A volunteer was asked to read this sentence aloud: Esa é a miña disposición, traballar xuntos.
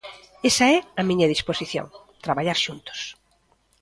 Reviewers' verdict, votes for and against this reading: accepted, 2, 0